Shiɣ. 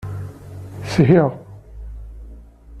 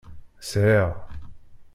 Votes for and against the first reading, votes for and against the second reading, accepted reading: 2, 0, 1, 2, first